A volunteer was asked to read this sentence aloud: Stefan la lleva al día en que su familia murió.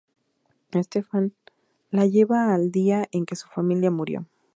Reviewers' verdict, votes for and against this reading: accepted, 4, 0